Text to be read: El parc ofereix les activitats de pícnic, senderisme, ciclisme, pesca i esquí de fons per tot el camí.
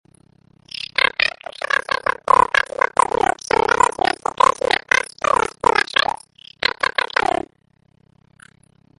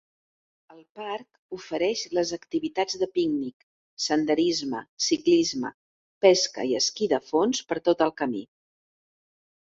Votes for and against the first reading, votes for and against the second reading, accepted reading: 0, 2, 2, 0, second